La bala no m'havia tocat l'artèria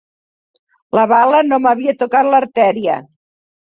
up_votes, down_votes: 4, 0